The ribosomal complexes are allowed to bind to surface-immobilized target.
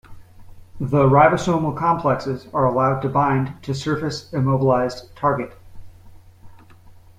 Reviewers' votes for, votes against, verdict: 2, 0, accepted